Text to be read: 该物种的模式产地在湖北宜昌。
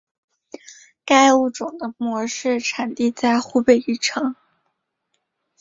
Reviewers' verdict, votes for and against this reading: accepted, 3, 0